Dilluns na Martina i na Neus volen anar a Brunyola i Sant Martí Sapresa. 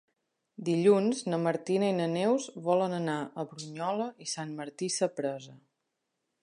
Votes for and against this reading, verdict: 2, 0, accepted